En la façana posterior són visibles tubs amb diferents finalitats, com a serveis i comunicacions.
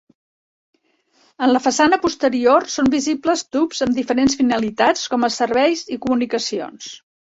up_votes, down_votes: 2, 0